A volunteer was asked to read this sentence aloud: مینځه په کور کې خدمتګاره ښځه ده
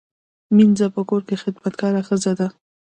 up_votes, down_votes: 2, 0